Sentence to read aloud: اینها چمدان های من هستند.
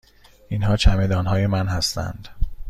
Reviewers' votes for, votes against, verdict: 2, 0, accepted